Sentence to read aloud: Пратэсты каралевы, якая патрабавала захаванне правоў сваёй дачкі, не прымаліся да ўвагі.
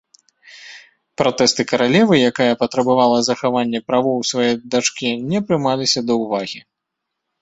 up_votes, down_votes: 2, 0